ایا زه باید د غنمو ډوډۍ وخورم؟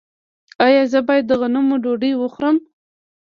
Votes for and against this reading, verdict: 0, 2, rejected